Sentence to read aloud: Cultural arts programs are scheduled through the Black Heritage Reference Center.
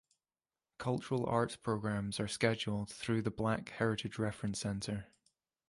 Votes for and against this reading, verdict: 3, 0, accepted